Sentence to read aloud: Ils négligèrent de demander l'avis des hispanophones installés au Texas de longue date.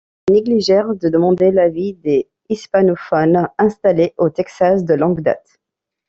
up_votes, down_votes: 1, 2